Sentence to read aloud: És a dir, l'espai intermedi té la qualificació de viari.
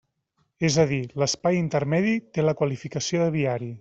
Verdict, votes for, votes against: accepted, 3, 0